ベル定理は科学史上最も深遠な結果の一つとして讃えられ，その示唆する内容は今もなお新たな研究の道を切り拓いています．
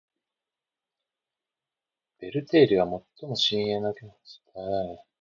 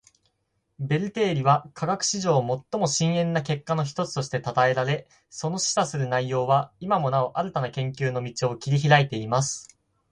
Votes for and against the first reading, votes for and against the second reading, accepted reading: 1, 2, 4, 2, second